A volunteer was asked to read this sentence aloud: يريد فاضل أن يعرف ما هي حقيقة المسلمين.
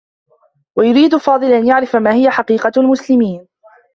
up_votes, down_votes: 1, 2